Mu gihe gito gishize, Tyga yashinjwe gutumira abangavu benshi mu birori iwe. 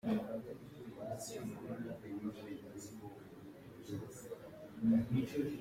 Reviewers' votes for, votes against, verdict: 0, 2, rejected